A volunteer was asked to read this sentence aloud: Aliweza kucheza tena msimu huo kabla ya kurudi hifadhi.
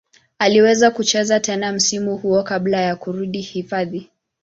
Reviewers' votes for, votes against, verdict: 2, 0, accepted